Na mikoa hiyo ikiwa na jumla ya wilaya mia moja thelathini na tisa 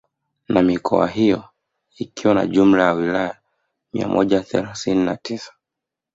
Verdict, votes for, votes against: rejected, 1, 2